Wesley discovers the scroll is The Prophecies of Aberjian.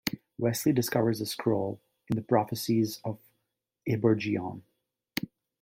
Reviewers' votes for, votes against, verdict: 0, 2, rejected